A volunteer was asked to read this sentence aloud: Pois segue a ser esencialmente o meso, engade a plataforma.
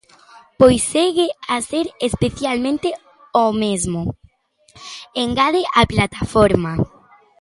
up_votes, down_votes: 0, 2